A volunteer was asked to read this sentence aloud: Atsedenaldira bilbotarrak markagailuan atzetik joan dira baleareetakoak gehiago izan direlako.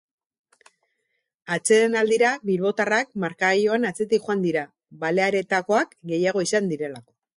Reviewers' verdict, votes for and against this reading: accepted, 6, 2